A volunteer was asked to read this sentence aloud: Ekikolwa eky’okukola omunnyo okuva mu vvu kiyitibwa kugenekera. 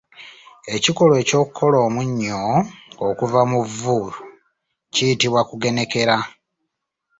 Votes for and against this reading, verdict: 2, 0, accepted